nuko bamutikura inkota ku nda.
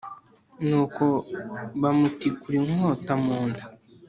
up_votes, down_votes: 1, 2